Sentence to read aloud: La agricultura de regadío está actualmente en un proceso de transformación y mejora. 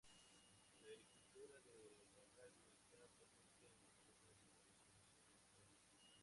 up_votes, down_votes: 0, 4